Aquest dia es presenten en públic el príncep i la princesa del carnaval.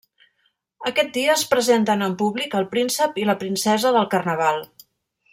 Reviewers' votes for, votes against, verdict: 3, 0, accepted